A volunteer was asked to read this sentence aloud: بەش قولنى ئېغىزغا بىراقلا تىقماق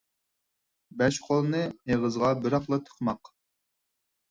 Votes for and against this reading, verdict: 4, 0, accepted